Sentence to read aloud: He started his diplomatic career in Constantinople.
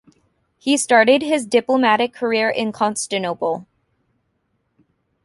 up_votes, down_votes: 1, 2